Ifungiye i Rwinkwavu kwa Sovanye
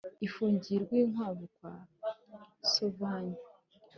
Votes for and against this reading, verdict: 4, 0, accepted